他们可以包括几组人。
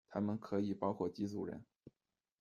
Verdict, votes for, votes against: accepted, 2, 0